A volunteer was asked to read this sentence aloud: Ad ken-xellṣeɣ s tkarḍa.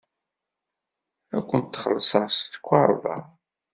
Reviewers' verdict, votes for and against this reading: rejected, 1, 2